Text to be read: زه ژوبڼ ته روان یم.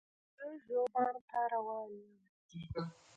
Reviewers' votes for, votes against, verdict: 2, 0, accepted